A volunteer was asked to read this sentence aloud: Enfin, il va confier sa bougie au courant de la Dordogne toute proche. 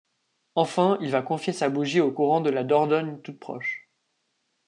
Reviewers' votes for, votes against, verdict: 2, 0, accepted